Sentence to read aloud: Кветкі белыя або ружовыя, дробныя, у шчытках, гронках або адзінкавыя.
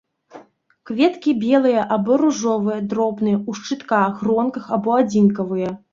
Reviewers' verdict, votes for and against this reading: accepted, 2, 0